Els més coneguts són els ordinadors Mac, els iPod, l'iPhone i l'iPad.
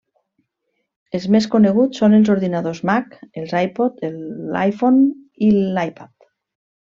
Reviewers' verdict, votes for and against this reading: accepted, 2, 0